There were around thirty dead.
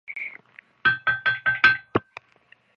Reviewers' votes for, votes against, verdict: 0, 3, rejected